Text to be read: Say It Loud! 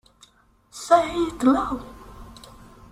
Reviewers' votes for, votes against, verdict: 0, 2, rejected